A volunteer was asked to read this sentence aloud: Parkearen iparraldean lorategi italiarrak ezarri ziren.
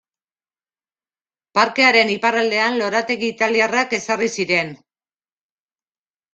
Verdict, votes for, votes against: accepted, 2, 0